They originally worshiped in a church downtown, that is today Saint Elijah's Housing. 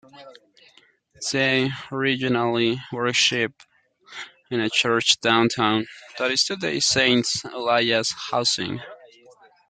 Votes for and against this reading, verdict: 0, 2, rejected